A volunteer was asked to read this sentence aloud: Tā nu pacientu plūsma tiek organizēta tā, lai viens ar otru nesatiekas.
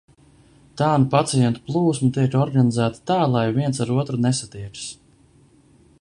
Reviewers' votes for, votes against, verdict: 2, 3, rejected